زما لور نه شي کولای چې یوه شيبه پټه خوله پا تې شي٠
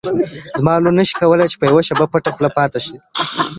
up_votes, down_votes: 0, 2